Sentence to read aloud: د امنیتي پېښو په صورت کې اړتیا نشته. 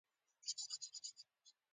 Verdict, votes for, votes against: rejected, 1, 2